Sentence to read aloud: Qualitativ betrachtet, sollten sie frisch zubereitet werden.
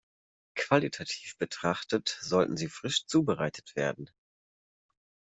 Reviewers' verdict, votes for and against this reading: accepted, 2, 0